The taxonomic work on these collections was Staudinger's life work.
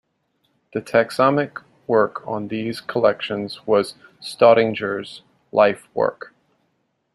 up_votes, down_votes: 1, 2